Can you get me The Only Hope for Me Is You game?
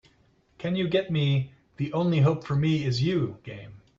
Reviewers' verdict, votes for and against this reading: accepted, 2, 0